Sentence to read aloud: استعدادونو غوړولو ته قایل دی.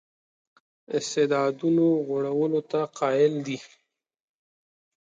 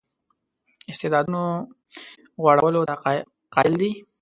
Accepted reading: first